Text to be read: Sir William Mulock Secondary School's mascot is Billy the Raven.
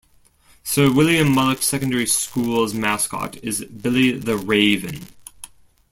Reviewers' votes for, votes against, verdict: 1, 2, rejected